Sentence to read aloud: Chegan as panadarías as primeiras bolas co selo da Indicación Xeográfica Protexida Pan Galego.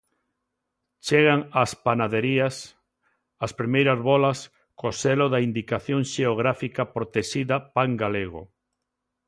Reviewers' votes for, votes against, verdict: 1, 2, rejected